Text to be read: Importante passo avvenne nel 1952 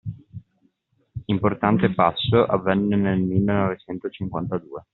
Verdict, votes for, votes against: rejected, 0, 2